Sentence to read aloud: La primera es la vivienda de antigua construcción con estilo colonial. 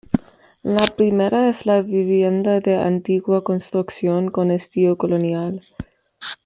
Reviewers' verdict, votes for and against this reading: accepted, 2, 0